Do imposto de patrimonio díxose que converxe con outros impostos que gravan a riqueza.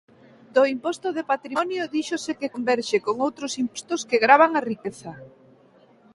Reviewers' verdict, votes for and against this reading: accepted, 3, 2